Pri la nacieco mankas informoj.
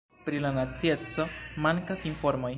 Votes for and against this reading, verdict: 1, 2, rejected